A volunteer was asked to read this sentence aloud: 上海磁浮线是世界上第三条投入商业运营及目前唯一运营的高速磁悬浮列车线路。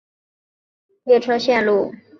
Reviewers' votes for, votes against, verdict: 0, 3, rejected